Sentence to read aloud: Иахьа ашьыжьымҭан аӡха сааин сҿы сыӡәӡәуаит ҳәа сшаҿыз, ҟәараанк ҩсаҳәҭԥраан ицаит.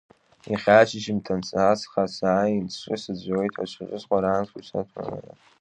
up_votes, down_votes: 0, 2